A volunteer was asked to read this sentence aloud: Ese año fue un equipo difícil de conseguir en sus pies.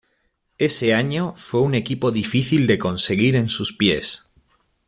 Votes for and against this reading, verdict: 2, 0, accepted